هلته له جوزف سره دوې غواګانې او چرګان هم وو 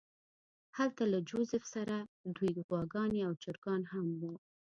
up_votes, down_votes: 2, 0